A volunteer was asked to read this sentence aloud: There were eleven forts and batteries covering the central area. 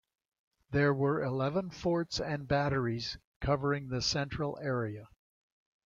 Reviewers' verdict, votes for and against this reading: accepted, 2, 0